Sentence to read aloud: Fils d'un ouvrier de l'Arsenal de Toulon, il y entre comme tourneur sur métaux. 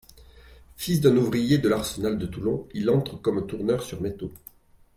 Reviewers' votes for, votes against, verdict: 2, 1, accepted